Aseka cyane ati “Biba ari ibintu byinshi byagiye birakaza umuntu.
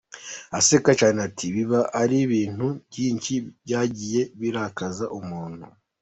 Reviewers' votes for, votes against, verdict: 1, 2, rejected